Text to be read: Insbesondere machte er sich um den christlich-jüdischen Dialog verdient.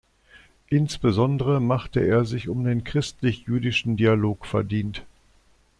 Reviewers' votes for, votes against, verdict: 2, 0, accepted